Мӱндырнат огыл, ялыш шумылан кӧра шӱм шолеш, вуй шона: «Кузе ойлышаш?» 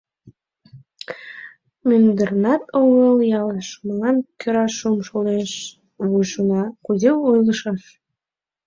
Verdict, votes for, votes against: rejected, 1, 3